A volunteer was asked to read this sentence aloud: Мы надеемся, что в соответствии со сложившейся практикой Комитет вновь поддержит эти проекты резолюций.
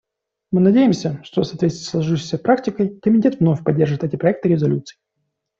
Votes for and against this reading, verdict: 2, 0, accepted